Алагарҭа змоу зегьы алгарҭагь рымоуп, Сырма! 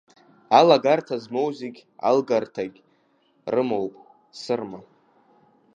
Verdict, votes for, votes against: rejected, 1, 2